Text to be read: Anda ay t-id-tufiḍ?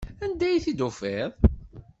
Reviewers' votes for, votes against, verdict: 2, 0, accepted